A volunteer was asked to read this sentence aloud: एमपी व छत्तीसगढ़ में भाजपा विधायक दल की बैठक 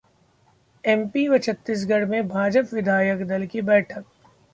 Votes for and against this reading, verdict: 0, 2, rejected